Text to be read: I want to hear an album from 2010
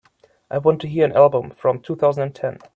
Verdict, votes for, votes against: rejected, 0, 2